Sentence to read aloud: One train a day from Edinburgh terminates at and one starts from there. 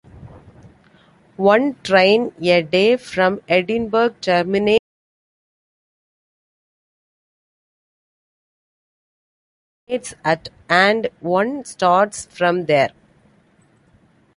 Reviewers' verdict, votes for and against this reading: rejected, 0, 2